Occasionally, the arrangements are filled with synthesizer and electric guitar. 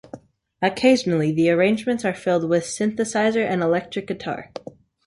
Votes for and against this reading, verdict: 2, 0, accepted